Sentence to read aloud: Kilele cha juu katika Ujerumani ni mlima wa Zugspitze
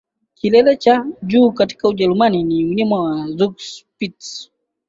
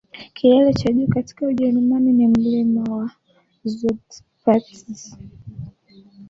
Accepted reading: first